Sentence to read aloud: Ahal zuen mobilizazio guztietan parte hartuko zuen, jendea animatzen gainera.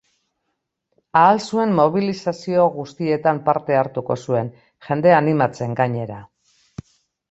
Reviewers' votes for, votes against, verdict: 2, 1, accepted